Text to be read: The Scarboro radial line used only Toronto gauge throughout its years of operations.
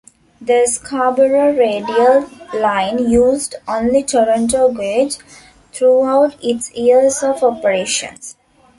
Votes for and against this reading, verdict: 1, 2, rejected